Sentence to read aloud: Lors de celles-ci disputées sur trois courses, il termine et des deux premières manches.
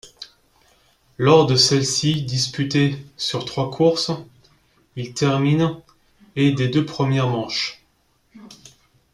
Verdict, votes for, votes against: accepted, 2, 0